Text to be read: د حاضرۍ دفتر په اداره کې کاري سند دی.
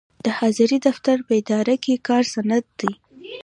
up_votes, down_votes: 2, 0